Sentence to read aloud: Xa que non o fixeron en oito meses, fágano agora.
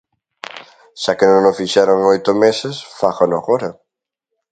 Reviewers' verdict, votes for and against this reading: accepted, 2, 0